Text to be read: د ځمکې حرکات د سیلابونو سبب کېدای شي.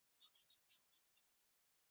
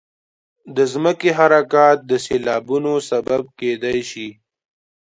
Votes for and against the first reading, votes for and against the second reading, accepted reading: 1, 2, 2, 1, second